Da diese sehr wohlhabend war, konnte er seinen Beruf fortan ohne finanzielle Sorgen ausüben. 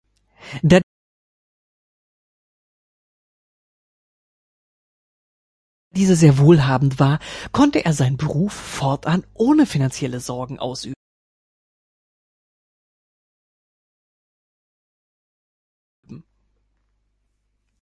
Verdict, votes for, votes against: rejected, 0, 3